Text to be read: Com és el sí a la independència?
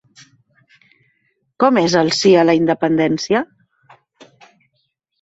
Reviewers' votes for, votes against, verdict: 3, 0, accepted